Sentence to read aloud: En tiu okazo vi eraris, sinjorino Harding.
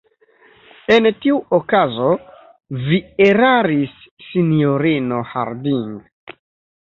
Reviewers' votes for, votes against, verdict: 1, 2, rejected